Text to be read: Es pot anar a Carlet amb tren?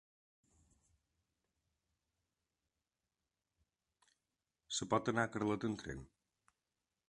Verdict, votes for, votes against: rejected, 0, 2